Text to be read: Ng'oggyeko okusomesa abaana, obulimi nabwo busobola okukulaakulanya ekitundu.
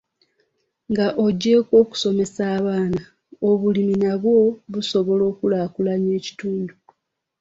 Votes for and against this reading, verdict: 2, 1, accepted